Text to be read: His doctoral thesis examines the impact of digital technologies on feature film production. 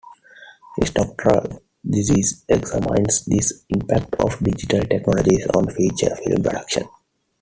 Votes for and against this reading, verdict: 2, 1, accepted